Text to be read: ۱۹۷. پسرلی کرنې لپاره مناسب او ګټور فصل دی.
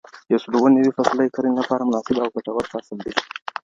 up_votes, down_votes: 0, 2